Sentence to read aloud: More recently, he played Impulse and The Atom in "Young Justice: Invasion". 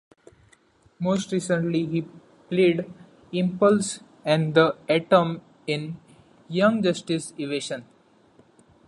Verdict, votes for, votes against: rejected, 1, 2